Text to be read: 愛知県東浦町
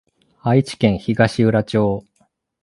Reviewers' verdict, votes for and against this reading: accepted, 2, 0